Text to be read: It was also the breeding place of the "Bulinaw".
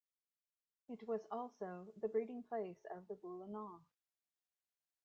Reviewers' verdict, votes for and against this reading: accepted, 2, 1